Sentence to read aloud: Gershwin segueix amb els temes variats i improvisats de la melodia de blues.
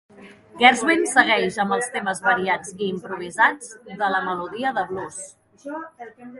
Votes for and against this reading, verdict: 2, 1, accepted